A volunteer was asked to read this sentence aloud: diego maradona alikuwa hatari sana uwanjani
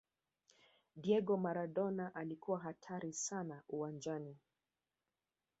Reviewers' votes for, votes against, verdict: 1, 2, rejected